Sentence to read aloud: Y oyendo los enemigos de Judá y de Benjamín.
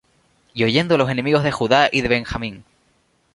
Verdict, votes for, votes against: accepted, 2, 0